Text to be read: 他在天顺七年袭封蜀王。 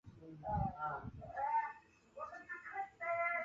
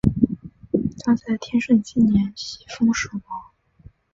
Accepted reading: second